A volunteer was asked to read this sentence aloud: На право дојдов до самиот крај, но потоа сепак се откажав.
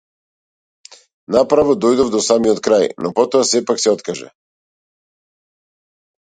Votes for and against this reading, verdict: 0, 2, rejected